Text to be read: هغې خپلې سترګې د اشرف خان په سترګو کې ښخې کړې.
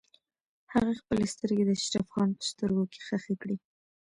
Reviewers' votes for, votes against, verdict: 2, 0, accepted